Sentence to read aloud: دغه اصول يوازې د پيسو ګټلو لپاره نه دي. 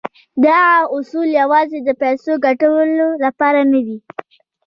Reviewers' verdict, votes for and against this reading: accepted, 2, 1